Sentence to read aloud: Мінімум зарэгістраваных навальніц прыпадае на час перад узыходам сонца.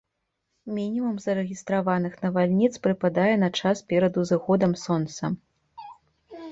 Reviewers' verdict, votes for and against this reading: accepted, 3, 0